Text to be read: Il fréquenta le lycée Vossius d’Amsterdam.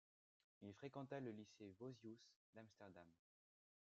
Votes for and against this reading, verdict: 2, 0, accepted